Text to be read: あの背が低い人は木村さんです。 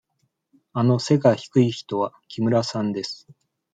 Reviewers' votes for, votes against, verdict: 2, 0, accepted